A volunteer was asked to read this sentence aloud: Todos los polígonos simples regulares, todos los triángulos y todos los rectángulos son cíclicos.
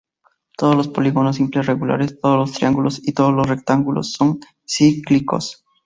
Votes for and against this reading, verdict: 2, 0, accepted